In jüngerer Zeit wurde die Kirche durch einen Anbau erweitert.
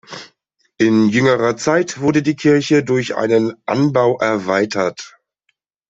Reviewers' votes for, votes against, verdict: 0, 2, rejected